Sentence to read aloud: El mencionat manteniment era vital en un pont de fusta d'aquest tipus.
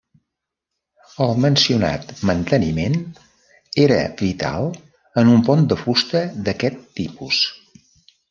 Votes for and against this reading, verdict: 3, 0, accepted